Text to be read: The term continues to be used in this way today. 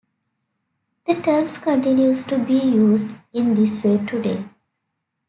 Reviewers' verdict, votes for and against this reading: rejected, 1, 2